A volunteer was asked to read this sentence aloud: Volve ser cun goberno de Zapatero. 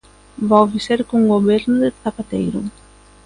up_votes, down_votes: 0, 2